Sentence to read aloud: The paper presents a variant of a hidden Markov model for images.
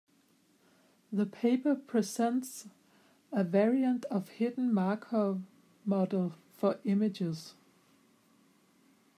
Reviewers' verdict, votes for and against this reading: rejected, 0, 2